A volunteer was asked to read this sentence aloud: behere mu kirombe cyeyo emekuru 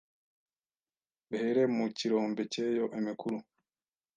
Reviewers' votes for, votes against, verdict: 2, 1, accepted